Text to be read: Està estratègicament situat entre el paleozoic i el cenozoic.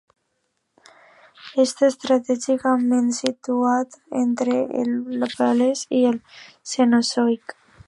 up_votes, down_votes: 1, 2